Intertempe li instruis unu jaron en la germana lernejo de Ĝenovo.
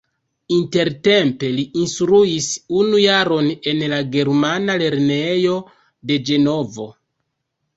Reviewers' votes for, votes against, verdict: 2, 1, accepted